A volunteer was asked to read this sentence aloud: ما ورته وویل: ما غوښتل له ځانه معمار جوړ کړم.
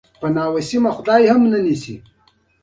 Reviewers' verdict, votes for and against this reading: rejected, 1, 2